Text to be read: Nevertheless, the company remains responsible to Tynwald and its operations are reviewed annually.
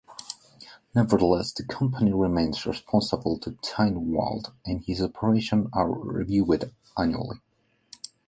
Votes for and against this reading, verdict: 2, 1, accepted